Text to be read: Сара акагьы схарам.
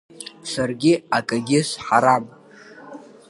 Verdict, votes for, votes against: rejected, 0, 2